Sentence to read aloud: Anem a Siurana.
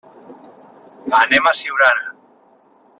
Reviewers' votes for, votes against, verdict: 3, 0, accepted